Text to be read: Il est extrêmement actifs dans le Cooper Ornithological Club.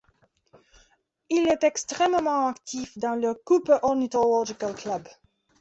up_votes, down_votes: 2, 1